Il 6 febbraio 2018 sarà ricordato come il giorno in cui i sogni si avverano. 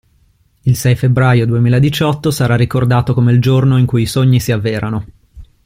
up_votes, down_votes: 0, 2